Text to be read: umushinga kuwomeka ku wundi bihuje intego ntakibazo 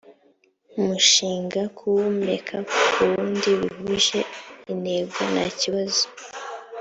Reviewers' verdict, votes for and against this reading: accepted, 3, 0